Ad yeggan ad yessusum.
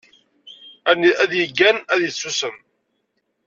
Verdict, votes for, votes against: rejected, 1, 2